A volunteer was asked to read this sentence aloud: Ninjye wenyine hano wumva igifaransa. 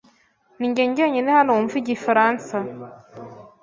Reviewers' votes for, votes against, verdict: 0, 2, rejected